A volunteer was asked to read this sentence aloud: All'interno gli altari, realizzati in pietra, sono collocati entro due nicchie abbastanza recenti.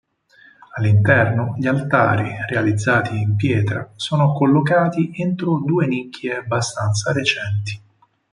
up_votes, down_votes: 4, 0